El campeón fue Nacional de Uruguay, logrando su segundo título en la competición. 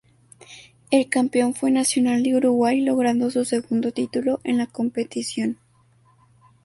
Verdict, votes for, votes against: accepted, 2, 0